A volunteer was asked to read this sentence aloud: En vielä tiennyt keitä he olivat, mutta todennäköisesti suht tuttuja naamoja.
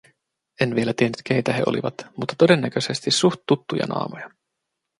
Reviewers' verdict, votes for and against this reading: accepted, 2, 0